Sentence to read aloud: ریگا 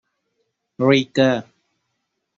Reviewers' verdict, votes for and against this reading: rejected, 0, 2